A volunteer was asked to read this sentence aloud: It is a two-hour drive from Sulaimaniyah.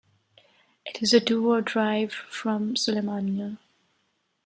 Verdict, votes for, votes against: accepted, 2, 0